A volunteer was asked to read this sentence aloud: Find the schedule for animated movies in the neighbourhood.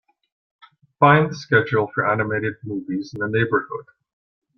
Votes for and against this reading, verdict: 2, 1, accepted